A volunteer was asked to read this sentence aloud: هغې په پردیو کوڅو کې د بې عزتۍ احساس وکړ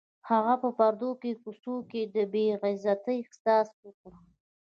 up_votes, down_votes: 1, 2